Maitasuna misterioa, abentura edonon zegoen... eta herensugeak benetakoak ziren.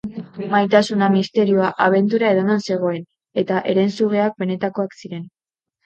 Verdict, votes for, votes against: accepted, 6, 2